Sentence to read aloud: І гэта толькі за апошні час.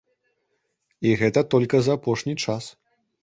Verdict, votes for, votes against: rejected, 0, 2